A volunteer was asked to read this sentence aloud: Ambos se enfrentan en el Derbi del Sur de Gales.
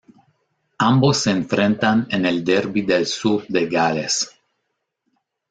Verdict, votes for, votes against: rejected, 0, 2